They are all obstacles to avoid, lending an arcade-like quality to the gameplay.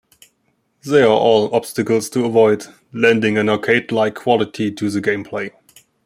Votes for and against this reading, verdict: 2, 1, accepted